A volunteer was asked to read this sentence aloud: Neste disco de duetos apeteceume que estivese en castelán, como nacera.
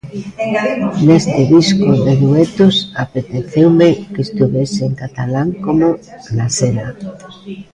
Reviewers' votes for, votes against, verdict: 0, 2, rejected